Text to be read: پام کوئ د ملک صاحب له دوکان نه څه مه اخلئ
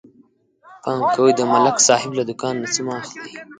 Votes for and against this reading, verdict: 1, 2, rejected